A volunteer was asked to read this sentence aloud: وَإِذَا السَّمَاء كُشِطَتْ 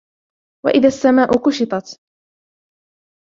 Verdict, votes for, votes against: accepted, 2, 1